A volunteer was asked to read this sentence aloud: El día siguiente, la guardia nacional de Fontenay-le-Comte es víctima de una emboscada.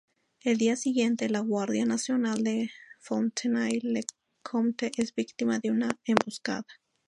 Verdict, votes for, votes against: rejected, 0, 2